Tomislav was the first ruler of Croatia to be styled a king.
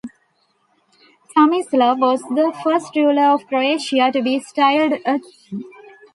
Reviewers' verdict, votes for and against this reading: rejected, 1, 2